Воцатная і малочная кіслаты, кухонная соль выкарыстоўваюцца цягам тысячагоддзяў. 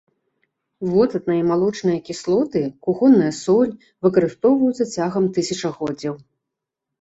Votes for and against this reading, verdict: 1, 2, rejected